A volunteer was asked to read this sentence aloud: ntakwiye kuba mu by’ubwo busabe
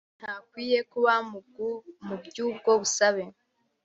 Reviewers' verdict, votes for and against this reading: rejected, 0, 2